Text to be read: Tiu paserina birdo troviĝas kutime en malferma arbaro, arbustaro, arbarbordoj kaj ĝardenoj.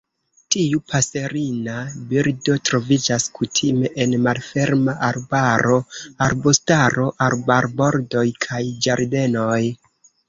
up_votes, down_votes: 2, 0